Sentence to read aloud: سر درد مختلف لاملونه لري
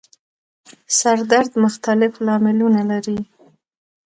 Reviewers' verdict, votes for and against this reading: accepted, 2, 0